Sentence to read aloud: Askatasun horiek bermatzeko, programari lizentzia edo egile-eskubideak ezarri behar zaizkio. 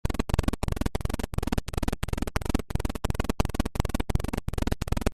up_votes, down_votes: 0, 2